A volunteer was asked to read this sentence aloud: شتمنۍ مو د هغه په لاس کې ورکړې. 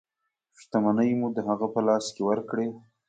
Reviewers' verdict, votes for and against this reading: accepted, 3, 0